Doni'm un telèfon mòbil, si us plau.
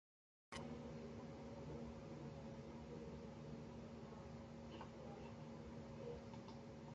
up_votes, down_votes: 0, 3